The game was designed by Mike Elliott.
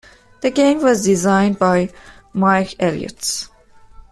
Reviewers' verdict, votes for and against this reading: rejected, 1, 2